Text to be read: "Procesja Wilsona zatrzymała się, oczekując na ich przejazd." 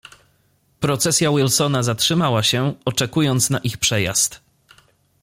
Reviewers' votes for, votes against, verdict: 2, 0, accepted